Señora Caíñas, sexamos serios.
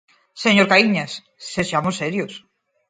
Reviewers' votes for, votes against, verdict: 0, 4, rejected